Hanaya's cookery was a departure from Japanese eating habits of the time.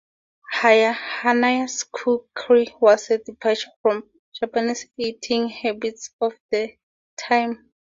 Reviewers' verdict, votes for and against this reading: rejected, 0, 2